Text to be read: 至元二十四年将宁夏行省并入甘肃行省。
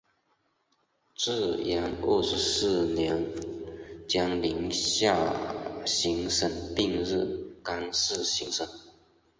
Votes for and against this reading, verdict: 4, 0, accepted